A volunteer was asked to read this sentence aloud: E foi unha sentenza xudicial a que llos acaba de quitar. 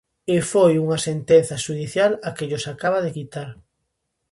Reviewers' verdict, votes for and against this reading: accepted, 2, 0